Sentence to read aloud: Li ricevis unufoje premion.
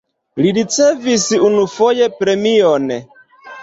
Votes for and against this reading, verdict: 2, 0, accepted